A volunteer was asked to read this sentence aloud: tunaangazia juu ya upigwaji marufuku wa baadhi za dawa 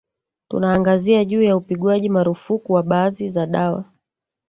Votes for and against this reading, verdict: 0, 2, rejected